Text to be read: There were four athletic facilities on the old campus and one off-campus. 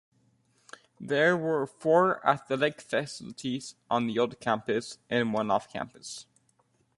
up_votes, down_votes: 1, 2